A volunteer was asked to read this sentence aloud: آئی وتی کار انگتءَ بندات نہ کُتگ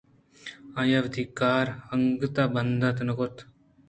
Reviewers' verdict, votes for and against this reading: accepted, 2, 0